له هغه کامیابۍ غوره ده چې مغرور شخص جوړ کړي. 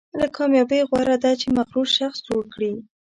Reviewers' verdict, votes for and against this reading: rejected, 1, 2